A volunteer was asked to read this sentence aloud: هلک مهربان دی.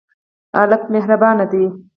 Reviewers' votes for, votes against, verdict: 2, 4, rejected